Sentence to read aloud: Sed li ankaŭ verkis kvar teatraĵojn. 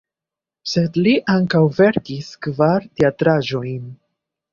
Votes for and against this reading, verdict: 3, 0, accepted